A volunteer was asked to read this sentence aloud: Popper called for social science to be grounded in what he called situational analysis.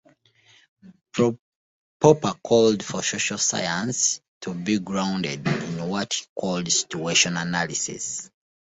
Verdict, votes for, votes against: rejected, 1, 2